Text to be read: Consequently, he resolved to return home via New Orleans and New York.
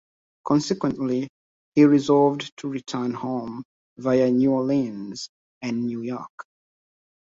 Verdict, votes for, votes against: accepted, 2, 1